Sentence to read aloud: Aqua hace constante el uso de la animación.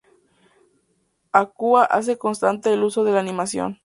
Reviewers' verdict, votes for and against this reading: accepted, 2, 0